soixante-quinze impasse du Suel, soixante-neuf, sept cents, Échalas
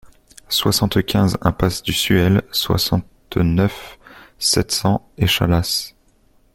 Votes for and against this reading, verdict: 2, 0, accepted